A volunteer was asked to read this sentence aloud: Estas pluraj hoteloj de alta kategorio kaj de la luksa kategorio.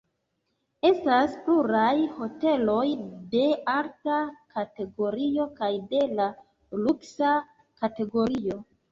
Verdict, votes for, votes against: accepted, 2, 0